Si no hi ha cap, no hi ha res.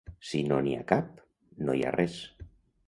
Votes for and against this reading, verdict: 1, 2, rejected